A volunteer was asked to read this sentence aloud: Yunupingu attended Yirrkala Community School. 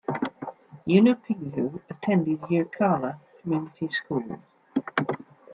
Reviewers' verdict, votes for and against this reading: accepted, 2, 0